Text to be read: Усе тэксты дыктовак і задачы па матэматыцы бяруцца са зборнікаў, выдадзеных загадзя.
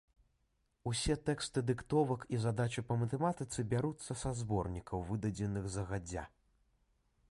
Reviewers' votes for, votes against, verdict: 2, 0, accepted